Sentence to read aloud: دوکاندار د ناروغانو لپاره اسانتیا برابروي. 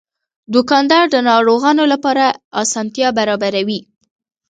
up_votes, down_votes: 2, 0